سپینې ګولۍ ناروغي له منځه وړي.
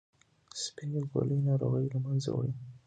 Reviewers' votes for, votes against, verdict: 2, 0, accepted